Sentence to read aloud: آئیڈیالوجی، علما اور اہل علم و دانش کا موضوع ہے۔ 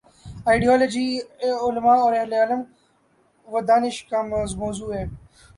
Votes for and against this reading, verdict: 3, 6, rejected